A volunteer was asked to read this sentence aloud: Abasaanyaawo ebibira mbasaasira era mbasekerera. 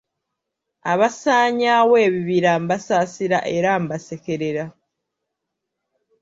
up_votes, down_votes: 2, 0